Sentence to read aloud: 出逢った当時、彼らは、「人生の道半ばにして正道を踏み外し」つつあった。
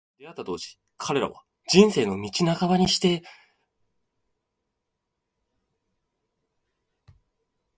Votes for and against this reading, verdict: 1, 3, rejected